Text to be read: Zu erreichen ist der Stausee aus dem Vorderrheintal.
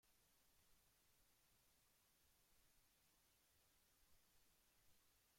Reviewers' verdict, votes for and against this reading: rejected, 0, 2